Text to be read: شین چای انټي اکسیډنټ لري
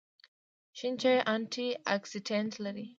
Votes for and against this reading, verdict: 2, 0, accepted